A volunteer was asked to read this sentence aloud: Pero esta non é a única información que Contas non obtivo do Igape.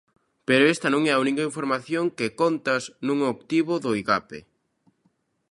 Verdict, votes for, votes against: accepted, 2, 0